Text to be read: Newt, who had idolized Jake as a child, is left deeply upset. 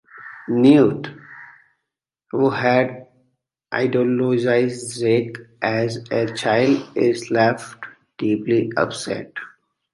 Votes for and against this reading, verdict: 2, 1, accepted